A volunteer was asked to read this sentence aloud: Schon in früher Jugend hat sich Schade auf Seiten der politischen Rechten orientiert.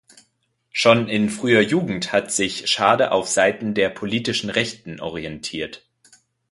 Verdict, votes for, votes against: accepted, 2, 0